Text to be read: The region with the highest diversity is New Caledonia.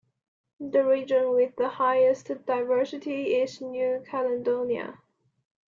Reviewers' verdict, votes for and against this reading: accepted, 2, 1